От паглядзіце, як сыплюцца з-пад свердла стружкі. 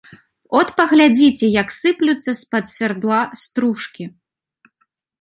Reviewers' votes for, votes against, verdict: 0, 2, rejected